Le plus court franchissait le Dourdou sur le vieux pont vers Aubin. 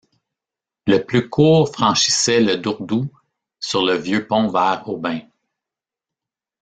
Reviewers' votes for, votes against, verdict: 2, 1, accepted